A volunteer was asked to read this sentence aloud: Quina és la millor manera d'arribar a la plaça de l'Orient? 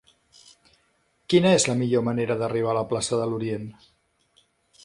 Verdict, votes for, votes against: accepted, 3, 1